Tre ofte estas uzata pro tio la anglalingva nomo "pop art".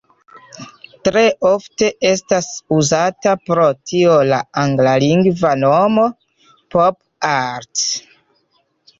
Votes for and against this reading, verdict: 2, 0, accepted